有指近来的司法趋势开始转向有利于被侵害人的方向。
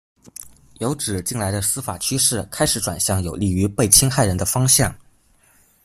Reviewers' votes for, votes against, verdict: 2, 0, accepted